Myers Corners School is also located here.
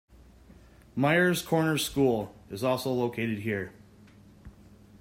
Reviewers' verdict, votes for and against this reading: accepted, 2, 0